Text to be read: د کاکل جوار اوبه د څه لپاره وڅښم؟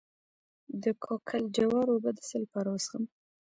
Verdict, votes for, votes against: accepted, 2, 1